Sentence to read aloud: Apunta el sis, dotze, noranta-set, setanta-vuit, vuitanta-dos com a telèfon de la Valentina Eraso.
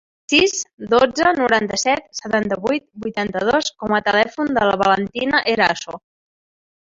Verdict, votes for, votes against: rejected, 0, 2